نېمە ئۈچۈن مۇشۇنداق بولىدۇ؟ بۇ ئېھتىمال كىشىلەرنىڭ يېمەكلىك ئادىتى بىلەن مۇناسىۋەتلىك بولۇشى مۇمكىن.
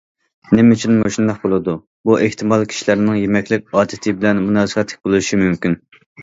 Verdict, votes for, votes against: accepted, 2, 0